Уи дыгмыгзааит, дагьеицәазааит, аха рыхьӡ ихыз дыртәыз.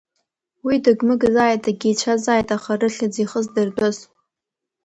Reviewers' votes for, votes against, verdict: 2, 0, accepted